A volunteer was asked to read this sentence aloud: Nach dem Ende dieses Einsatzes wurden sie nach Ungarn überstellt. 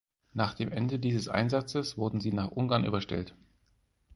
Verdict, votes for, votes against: rejected, 2, 4